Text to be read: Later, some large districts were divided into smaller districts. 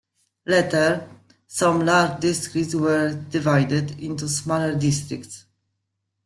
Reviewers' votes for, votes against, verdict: 2, 0, accepted